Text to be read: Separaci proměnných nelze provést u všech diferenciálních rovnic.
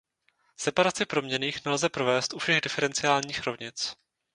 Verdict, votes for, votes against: rejected, 0, 2